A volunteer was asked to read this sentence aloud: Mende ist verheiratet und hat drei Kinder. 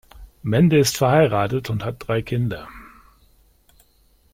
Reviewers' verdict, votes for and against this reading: accepted, 2, 0